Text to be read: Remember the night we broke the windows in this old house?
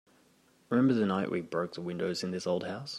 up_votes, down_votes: 4, 0